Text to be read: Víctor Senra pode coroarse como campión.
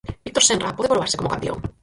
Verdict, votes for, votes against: rejected, 0, 4